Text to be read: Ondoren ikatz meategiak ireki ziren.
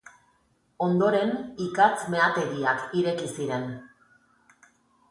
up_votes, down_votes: 2, 2